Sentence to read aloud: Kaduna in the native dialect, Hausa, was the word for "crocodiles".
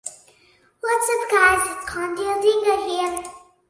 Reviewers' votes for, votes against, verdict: 0, 2, rejected